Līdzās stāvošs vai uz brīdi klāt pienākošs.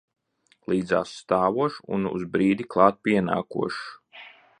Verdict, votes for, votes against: rejected, 0, 2